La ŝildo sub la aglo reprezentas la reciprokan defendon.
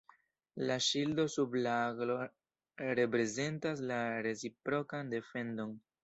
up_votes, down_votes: 0, 2